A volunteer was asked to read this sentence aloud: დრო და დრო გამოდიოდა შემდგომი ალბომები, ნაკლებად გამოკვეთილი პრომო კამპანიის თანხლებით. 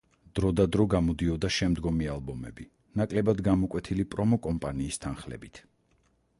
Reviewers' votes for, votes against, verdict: 0, 4, rejected